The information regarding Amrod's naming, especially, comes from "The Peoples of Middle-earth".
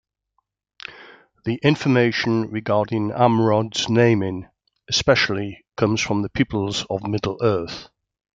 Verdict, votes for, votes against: accepted, 2, 0